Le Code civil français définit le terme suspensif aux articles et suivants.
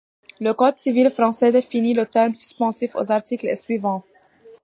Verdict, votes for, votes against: accepted, 2, 1